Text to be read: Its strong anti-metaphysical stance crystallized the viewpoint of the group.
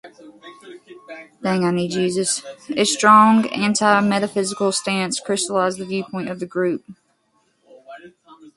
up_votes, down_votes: 0, 2